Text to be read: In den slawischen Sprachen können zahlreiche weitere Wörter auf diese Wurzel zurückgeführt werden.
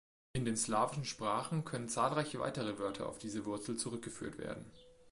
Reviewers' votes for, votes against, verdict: 2, 1, accepted